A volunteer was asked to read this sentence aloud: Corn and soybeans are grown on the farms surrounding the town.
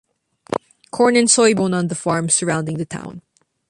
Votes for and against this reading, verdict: 0, 2, rejected